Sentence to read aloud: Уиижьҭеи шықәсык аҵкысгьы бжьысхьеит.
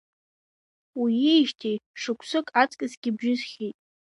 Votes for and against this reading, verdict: 2, 0, accepted